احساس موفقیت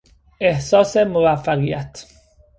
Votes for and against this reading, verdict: 2, 0, accepted